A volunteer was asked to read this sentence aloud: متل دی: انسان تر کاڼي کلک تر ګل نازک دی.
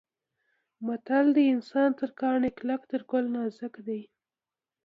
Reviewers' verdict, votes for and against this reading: rejected, 1, 2